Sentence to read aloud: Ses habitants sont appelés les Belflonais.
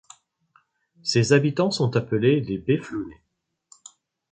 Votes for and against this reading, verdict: 0, 2, rejected